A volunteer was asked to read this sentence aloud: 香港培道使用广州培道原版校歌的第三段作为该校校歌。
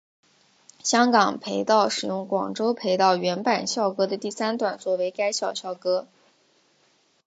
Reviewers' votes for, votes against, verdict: 5, 0, accepted